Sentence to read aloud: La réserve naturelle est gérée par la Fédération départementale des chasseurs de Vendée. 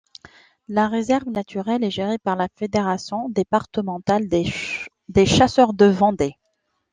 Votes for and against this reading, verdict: 1, 2, rejected